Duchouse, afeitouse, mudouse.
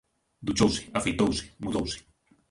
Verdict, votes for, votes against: accepted, 2, 0